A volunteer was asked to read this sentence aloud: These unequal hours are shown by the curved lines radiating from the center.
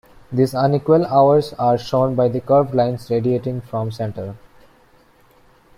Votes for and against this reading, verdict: 1, 2, rejected